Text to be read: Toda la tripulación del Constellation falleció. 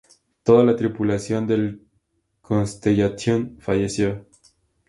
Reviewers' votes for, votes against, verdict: 4, 0, accepted